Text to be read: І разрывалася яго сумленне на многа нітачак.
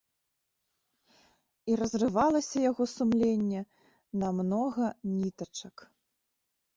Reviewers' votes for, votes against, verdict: 2, 0, accepted